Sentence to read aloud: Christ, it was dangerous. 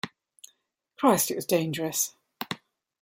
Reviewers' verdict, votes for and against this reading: accepted, 2, 1